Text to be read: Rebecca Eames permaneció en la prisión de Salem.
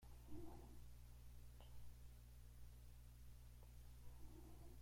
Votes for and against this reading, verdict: 0, 2, rejected